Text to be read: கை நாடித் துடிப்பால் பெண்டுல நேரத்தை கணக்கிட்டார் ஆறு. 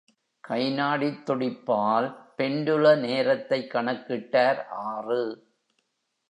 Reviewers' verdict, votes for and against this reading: accepted, 3, 0